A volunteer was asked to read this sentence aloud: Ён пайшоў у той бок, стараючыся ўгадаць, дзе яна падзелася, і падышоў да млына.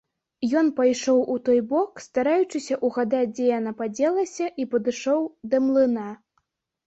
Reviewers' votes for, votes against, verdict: 0, 2, rejected